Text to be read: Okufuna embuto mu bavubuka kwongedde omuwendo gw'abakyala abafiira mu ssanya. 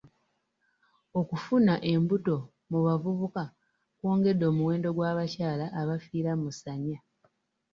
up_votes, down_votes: 0, 2